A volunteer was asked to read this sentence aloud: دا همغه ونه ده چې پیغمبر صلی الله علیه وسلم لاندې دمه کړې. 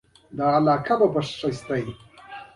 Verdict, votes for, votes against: accepted, 2, 0